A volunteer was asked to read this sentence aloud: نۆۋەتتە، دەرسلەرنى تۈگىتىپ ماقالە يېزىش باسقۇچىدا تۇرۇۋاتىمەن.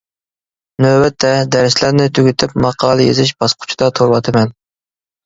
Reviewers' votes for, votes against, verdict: 2, 0, accepted